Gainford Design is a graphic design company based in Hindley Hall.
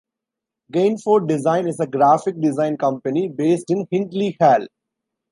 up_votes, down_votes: 2, 0